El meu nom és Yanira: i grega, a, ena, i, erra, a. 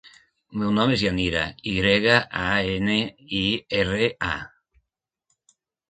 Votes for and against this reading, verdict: 0, 2, rejected